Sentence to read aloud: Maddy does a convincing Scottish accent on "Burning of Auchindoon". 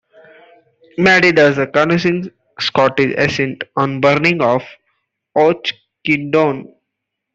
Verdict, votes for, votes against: rejected, 0, 2